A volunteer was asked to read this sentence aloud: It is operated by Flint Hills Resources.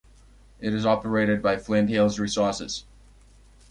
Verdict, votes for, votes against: accepted, 2, 0